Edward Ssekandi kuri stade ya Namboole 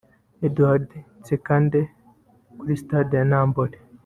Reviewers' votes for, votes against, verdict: 1, 2, rejected